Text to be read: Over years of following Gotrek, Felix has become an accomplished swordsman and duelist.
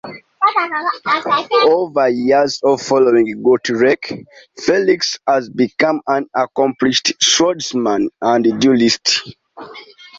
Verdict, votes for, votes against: accepted, 2, 1